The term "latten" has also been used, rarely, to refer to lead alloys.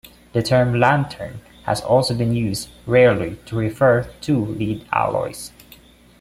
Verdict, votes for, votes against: rejected, 1, 2